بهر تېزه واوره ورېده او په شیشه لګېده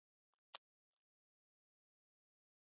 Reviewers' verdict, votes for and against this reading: rejected, 0, 2